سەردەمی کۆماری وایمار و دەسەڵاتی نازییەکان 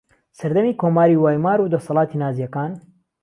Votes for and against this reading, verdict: 2, 0, accepted